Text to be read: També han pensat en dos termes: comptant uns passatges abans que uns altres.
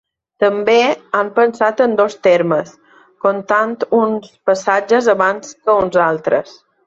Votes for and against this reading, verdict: 2, 0, accepted